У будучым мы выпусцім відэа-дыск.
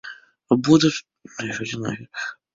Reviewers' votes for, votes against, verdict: 1, 2, rejected